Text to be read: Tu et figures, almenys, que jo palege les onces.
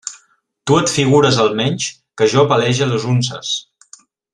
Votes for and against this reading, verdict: 1, 2, rejected